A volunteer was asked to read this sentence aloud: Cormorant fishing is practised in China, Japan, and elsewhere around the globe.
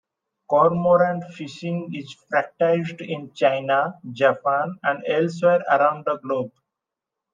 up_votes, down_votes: 2, 0